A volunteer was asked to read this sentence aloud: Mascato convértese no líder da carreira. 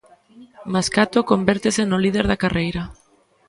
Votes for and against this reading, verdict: 2, 0, accepted